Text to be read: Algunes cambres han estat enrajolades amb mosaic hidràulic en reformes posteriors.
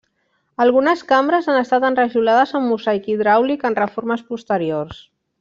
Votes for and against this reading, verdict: 1, 2, rejected